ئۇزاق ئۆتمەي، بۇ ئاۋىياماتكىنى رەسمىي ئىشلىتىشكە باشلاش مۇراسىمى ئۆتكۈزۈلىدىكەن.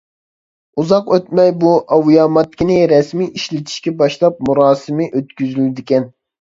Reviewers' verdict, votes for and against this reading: rejected, 0, 2